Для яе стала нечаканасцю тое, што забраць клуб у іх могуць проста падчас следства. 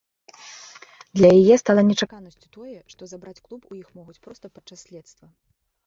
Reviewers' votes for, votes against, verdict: 0, 2, rejected